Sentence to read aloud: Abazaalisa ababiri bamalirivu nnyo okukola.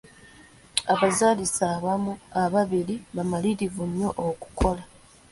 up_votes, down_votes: 2, 0